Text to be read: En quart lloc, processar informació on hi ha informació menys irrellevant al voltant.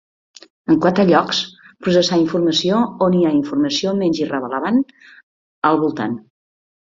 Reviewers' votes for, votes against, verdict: 0, 3, rejected